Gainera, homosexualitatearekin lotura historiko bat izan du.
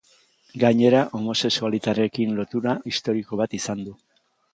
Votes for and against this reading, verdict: 0, 2, rejected